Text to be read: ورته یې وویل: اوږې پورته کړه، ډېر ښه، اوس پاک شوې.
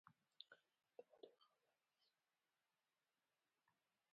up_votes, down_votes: 0, 2